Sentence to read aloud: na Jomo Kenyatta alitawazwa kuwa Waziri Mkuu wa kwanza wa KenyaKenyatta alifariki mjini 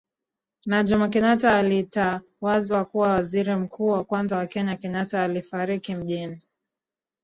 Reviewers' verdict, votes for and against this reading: rejected, 0, 2